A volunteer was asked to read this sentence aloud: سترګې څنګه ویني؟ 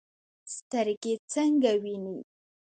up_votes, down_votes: 1, 2